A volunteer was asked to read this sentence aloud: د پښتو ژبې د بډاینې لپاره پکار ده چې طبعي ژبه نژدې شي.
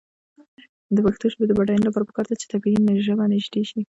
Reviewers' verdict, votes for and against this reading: rejected, 1, 2